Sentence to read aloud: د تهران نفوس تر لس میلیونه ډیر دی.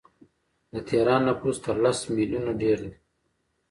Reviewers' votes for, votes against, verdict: 1, 2, rejected